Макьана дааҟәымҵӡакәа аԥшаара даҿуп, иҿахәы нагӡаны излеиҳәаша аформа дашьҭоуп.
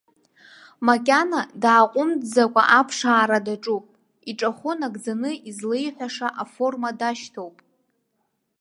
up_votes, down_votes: 2, 0